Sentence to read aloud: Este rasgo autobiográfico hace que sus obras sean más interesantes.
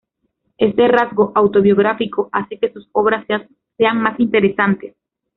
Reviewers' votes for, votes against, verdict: 1, 2, rejected